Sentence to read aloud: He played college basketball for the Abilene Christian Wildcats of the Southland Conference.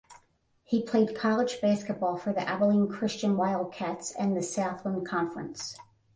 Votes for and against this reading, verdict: 5, 10, rejected